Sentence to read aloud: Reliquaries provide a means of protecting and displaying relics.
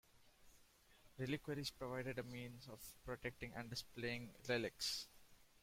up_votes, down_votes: 1, 2